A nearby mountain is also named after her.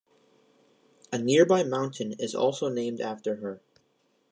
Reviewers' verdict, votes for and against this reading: accepted, 2, 0